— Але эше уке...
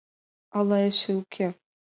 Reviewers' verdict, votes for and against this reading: accepted, 2, 0